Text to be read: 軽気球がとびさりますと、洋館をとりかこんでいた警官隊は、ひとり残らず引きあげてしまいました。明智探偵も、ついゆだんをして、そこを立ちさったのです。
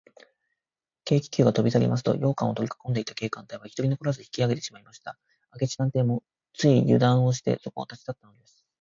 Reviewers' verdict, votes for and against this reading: rejected, 1, 2